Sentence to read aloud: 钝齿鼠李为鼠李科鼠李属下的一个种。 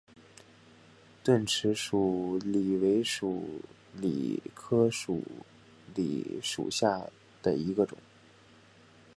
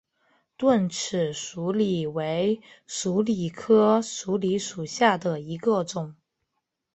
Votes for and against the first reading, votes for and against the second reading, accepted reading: 2, 3, 2, 1, second